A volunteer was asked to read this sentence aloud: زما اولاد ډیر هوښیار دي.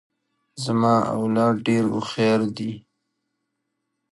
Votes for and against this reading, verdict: 2, 0, accepted